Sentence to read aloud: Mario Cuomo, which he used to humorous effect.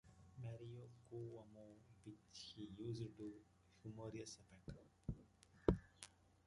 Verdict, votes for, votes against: rejected, 0, 2